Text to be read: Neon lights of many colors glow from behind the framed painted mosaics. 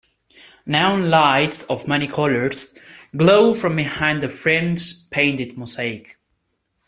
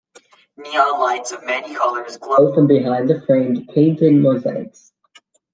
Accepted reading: second